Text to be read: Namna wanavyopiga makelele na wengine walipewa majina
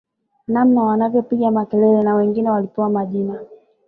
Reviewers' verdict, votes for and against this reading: rejected, 1, 2